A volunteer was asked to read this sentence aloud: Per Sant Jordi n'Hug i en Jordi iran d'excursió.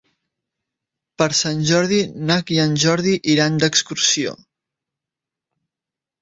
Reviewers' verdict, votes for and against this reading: rejected, 1, 2